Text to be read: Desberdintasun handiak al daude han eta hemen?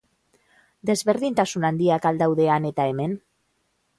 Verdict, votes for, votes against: accepted, 2, 0